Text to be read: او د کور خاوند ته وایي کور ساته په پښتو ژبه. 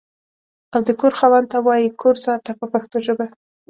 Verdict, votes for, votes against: accepted, 2, 0